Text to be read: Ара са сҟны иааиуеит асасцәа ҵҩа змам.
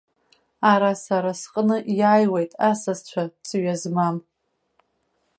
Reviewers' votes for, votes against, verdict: 0, 2, rejected